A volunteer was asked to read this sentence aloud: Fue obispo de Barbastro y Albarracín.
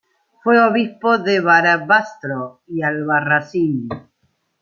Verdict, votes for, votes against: rejected, 0, 2